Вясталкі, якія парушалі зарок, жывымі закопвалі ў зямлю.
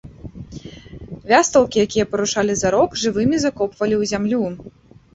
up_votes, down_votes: 0, 2